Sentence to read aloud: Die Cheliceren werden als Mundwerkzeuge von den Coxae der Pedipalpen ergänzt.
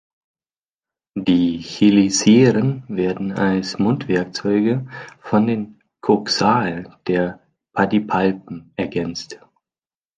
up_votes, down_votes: 0, 2